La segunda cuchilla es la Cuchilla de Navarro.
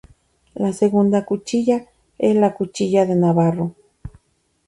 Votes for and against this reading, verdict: 0, 2, rejected